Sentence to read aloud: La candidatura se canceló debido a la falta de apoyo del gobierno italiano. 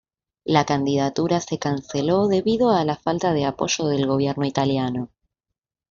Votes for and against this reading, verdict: 2, 0, accepted